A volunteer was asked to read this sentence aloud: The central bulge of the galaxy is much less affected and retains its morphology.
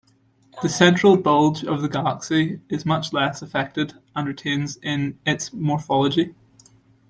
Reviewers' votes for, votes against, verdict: 0, 2, rejected